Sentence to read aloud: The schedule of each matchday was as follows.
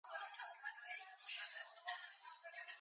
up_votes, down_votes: 0, 2